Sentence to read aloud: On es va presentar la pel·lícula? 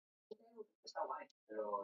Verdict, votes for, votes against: rejected, 1, 2